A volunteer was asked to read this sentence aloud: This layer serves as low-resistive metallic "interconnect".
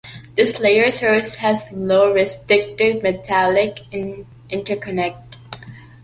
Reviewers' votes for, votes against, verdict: 0, 2, rejected